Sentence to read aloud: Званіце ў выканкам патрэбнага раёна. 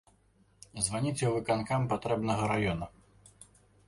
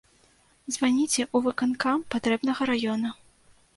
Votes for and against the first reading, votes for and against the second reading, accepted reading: 2, 0, 1, 2, first